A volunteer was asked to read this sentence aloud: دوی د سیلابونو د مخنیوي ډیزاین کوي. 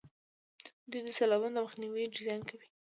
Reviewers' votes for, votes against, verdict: 1, 2, rejected